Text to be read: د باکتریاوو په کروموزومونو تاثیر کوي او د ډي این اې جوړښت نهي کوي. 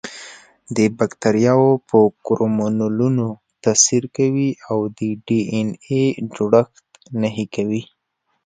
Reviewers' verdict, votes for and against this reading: rejected, 1, 2